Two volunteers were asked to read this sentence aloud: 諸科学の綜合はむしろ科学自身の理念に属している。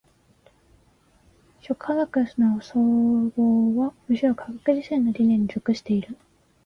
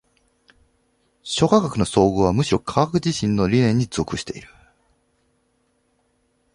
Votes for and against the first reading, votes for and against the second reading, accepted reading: 0, 2, 2, 0, second